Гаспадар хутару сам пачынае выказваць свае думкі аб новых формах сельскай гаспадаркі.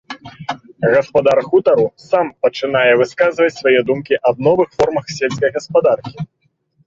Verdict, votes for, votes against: rejected, 1, 2